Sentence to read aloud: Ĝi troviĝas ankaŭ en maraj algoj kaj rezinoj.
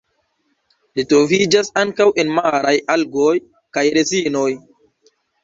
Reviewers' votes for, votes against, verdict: 0, 2, rejected